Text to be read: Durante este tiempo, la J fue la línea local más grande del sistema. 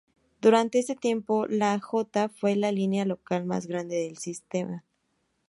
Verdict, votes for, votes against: rejected, 0, 2